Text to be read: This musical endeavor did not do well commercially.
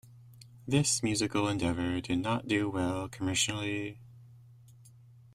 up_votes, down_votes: 1, 2